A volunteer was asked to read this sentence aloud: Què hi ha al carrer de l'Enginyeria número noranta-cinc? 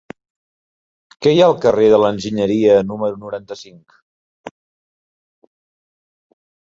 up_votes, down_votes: 4, 0